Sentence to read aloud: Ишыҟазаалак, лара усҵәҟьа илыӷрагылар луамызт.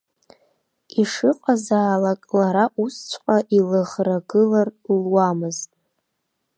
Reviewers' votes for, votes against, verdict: 2, 0, accepted